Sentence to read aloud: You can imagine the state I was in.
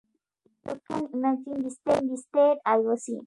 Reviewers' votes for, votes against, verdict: 2, 0, accepted